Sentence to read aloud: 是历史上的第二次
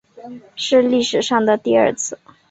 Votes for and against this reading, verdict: 2, 0, accepted